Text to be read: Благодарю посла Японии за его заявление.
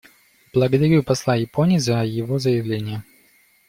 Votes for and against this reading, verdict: 2, 0, accepted